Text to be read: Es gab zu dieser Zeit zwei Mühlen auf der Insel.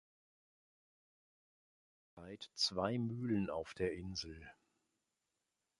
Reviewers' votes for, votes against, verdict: 0, 2, rejected